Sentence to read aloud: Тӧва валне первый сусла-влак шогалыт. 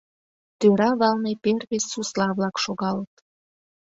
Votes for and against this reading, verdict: 0, 2, rejected